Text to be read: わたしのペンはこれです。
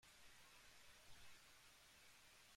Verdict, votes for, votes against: rejected, 0, 2